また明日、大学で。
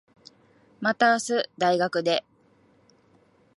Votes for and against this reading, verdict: 2, 0, accepted